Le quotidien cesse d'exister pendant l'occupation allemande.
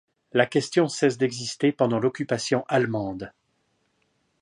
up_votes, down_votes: 0, 2